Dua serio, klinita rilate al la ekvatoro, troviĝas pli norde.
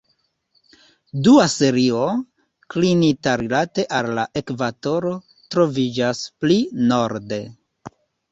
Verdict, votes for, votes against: accepted, 2, 0